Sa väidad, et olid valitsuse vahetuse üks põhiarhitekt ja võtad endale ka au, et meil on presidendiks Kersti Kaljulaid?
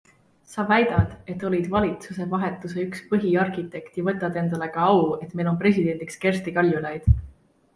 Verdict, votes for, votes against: accepted, 2, 1